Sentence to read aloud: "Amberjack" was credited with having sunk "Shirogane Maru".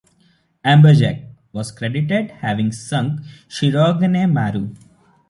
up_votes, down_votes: 0, 2